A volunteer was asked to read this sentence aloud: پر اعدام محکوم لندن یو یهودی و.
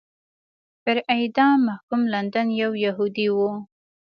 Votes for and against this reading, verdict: 2, 0, accepted